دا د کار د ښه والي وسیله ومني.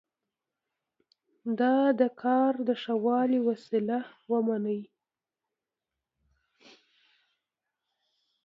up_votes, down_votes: 2, 0